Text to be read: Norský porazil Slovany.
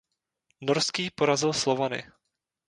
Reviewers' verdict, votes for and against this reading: accepted, 2, 0